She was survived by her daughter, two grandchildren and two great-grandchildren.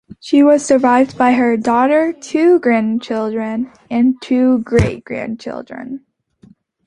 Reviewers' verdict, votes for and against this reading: accepted, 2, 0